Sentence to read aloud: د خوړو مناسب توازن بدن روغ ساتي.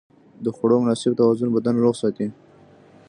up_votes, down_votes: 1, 2